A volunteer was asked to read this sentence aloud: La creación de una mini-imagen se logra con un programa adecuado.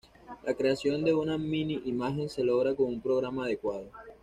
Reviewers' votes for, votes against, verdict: 2, 0, accepted